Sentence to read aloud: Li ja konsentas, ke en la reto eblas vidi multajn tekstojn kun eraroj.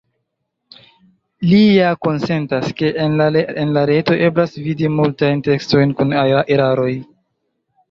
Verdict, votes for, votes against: rejected, 0, 2